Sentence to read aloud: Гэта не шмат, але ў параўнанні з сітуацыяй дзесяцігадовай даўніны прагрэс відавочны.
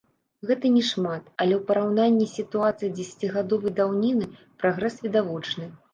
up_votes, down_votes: 0, 2